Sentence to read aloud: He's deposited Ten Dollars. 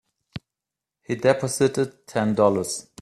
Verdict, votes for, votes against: rejected, 1, 2